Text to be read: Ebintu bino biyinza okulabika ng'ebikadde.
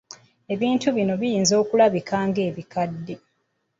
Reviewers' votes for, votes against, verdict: 2, 0, accepted